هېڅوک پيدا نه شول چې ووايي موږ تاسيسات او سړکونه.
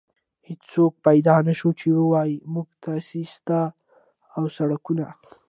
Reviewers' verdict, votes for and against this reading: accepted, 2, 0